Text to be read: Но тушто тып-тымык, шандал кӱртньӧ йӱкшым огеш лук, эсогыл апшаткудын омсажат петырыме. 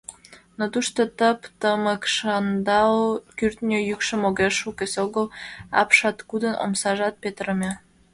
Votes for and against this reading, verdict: 2, 0, accepted